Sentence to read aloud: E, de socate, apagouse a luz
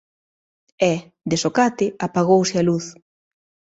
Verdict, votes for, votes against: accepted, 2, 0